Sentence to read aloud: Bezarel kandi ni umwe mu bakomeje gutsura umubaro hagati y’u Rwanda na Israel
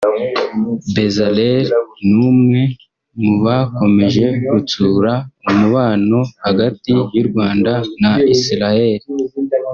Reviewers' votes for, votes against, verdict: 0, 2, rejected